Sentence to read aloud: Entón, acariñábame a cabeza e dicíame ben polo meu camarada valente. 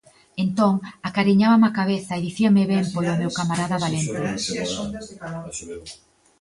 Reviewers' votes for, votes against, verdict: 2, 0, accepted